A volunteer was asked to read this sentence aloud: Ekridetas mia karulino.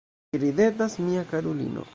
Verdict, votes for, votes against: rejected, 0, 2